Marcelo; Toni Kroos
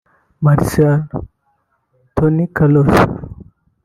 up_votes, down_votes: 0, 2